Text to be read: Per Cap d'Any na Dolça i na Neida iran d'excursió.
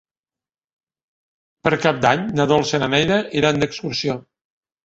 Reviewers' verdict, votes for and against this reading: rejected, 0, 2